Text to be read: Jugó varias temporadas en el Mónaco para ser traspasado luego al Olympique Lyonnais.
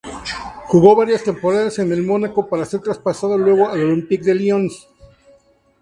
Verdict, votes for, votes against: accepted, 2, 0